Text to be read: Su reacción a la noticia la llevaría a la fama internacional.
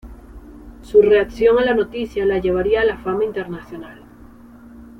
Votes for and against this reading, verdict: 2, 0, accepted